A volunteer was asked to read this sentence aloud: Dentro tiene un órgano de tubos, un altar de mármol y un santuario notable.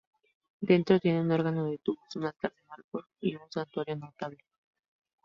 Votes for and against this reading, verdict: 2, 0, accepted